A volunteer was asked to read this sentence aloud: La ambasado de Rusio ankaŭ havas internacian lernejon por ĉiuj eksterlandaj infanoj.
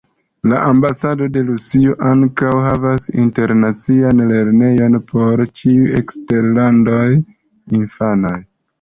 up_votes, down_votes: 0, 2